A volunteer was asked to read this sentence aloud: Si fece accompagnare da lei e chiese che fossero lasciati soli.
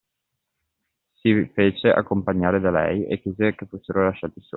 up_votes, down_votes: 2, 0